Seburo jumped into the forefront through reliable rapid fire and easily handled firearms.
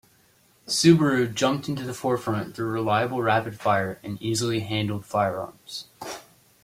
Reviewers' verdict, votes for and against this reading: accepted, 3, 1